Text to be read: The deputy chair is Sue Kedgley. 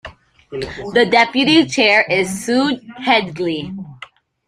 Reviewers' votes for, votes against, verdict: 0, 2, rejected